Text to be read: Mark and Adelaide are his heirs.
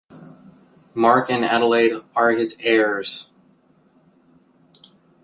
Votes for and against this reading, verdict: 1, 2, rejected